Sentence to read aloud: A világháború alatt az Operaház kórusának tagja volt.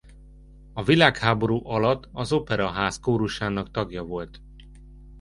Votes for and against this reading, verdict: 2, 0, accepted